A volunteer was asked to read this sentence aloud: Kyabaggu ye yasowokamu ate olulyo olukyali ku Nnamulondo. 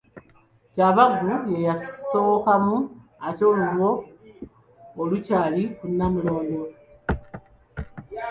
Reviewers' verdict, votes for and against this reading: accepted, 2, 1